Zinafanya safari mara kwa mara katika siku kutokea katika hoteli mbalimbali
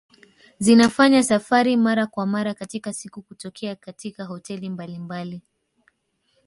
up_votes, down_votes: 3, 1